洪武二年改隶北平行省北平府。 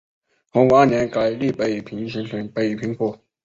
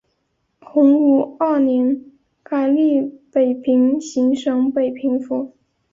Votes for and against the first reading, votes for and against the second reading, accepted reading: 1, 2, 2, 0, second